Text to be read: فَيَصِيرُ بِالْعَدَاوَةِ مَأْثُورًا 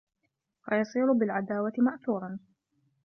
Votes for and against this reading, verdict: 2, 0, accepted